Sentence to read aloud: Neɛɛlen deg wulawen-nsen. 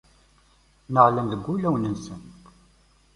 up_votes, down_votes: 1, 2